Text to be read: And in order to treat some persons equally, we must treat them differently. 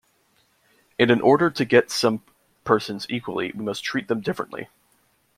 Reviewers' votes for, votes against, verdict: 0, 2, rejected